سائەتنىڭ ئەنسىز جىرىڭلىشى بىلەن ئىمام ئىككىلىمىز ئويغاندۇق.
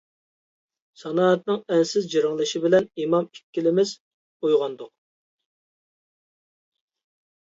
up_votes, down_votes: 0, 2